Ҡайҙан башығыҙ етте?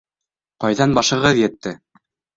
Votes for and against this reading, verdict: 3, 0, accepted